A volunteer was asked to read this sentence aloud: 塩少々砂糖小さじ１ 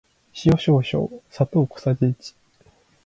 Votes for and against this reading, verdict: 0, 2, rejected